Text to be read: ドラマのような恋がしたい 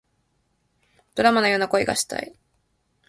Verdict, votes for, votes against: accepted, 2, 0